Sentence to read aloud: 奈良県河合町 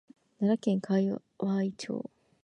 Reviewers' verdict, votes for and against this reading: rejected, 1, 2